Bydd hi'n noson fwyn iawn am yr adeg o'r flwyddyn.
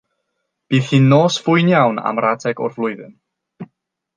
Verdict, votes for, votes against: rejected, 0, 3